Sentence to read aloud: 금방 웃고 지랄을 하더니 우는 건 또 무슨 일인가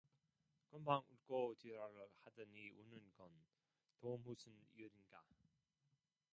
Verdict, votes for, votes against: rejected, 0, 2